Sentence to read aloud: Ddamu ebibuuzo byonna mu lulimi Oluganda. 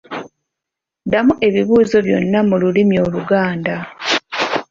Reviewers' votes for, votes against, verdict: 2, 0, accepted